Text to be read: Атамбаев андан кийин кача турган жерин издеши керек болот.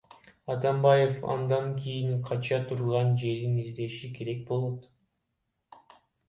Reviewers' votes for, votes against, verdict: 0, 2, rejected